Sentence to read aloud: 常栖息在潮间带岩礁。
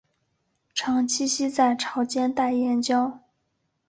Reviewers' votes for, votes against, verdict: 2, 1, accepted